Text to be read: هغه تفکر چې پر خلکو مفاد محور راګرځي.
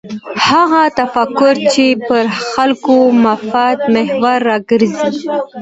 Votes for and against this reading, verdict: 2, 0, accepted